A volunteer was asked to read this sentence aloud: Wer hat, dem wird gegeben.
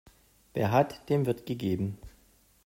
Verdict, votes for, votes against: accepted, 2, 0